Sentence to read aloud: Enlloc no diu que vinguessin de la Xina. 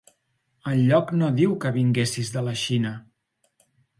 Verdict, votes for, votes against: rejected, 0, 2